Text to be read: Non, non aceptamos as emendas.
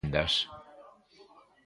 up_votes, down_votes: 0, 2